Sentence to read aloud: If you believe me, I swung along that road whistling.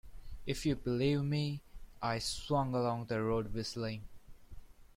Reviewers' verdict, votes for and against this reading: accepted, 2, 1